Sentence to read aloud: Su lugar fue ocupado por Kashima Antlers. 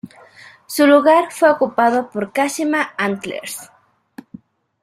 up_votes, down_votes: 2, 0